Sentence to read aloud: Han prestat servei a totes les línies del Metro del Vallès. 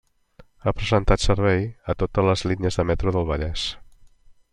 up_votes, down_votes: 0, 2